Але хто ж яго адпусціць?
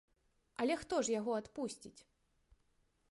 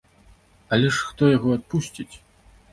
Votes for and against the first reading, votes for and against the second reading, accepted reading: 2, 1, 0, 2, first